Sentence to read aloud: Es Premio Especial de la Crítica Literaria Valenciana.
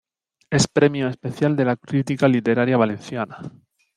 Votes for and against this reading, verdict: 2, 1, accepted